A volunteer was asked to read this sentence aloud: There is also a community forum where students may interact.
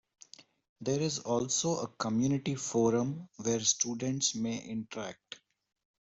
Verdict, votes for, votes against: accepted, 2, 0